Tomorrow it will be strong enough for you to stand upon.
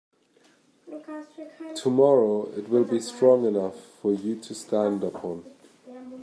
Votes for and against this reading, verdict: 2, 1, accepted